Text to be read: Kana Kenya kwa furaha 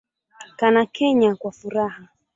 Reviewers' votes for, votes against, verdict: 0, 2, rejected